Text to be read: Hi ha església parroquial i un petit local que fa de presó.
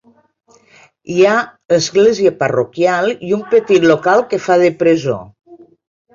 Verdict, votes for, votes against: accepted, 2, 0